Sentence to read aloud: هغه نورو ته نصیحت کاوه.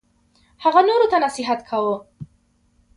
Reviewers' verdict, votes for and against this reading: accepted, 2, 0